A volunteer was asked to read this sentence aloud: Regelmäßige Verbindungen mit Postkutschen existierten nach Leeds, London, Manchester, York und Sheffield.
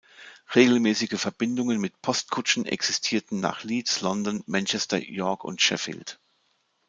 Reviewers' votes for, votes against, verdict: 2, 0, accepted